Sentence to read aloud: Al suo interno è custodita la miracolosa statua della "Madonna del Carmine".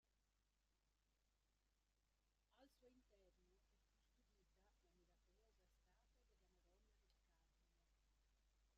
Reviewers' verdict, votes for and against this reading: rejected, 0, 2